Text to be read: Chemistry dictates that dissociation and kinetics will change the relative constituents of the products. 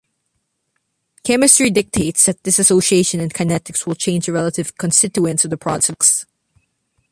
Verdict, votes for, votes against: rejected, 1, 2